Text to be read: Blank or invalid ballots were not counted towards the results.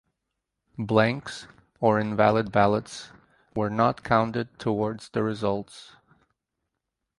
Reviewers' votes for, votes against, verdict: 2, 4, rejected